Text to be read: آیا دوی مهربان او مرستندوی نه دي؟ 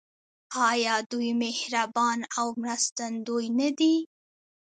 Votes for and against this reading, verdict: 0, 2, rejected